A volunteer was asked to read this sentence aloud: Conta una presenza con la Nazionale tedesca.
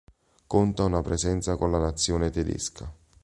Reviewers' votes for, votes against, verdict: 0, 2, rejected